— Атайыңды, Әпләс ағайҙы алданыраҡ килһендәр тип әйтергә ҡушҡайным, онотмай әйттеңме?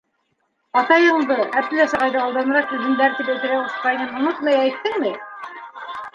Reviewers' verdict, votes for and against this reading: rejected, 0, 2